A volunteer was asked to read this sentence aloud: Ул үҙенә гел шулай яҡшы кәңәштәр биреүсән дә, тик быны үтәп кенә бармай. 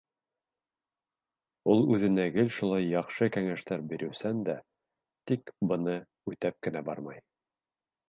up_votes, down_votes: 2, 0